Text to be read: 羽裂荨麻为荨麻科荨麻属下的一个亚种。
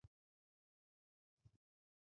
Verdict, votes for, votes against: rejected, 0, 2